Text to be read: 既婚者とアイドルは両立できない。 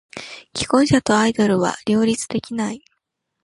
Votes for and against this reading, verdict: 2, 0, accepted